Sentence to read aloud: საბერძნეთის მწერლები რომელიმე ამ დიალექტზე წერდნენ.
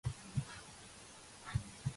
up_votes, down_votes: 0, 2